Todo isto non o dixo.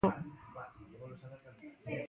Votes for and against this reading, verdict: 0, 2, rejected